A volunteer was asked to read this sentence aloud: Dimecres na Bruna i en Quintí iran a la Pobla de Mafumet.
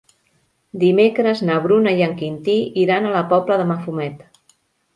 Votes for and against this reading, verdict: 3, 0, accepted